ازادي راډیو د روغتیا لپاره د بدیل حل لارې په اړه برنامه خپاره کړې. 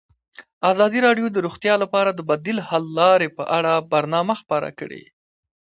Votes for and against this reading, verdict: 2, 0, accepted